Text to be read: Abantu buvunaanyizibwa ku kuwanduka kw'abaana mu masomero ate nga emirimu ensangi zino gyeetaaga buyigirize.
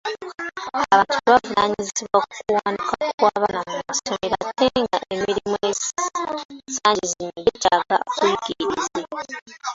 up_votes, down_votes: 0, 2